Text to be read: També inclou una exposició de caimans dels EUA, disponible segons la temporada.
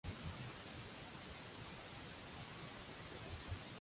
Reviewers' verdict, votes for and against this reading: rejected, 0, 2